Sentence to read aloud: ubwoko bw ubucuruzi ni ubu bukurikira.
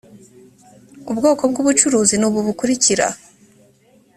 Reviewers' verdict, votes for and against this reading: accepted, 2, 0